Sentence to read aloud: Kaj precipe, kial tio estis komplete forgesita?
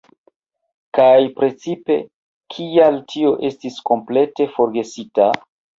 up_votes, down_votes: 2, 1